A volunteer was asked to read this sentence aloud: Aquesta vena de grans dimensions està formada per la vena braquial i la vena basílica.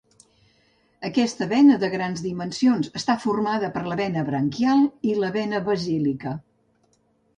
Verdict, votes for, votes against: rejected, 1, 2